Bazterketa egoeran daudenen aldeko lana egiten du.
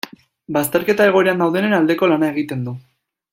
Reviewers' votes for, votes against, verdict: 1, 2, rejected